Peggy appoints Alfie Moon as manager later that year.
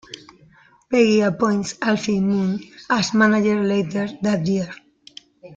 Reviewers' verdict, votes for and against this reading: accepted, 2, 1